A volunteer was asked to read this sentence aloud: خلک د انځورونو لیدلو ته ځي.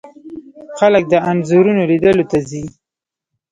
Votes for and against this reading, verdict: 1, 2, rejected